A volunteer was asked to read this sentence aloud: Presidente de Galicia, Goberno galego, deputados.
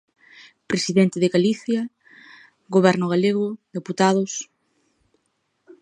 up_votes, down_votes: 2, 0